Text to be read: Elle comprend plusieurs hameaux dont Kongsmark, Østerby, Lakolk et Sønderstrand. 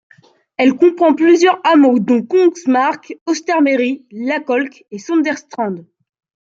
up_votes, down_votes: 0, 2